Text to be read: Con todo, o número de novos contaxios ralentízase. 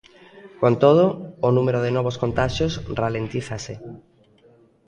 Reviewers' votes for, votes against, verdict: 1, 2, rejected